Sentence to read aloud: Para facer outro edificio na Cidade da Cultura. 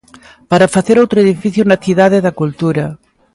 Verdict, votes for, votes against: accepted, 2, 0